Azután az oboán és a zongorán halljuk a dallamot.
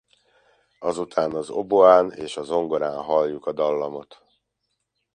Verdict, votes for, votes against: rejected, 1, 2